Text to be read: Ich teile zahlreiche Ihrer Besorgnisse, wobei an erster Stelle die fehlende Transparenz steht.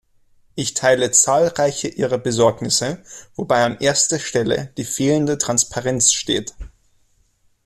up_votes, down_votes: 2, 0